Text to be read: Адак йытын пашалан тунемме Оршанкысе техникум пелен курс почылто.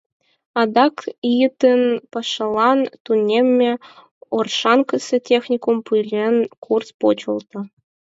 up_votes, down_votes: 4, 0